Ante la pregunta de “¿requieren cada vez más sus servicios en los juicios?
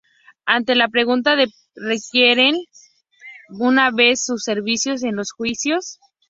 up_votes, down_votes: 0, 4